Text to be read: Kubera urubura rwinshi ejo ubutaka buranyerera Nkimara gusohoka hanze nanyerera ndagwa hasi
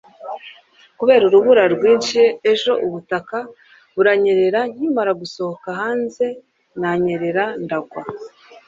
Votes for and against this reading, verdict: 0, 2, rejected